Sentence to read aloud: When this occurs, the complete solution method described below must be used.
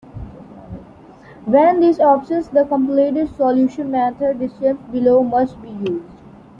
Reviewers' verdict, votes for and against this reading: rejected, 0, 2